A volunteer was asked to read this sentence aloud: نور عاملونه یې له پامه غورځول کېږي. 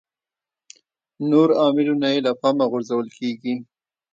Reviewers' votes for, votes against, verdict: 2, 0, accepted